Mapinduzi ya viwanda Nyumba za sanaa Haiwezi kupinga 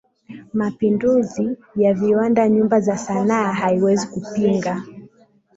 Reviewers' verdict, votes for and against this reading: accepted, 2, 0